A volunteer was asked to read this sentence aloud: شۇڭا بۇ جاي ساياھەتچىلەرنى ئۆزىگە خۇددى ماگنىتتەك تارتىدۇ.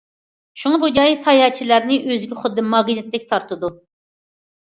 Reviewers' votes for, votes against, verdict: 2, 0, accepted